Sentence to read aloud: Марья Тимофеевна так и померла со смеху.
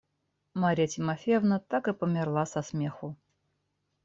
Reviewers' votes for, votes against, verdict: 2, 0, accepted